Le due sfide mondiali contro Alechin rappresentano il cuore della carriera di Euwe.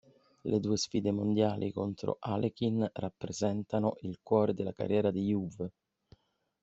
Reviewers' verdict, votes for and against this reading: accepted, 2, 0